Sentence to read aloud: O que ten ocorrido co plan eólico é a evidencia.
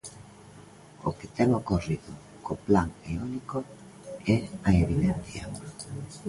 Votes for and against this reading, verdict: 2, 0, accepted